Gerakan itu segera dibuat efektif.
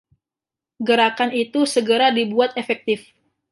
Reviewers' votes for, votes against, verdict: 2, 0, accepted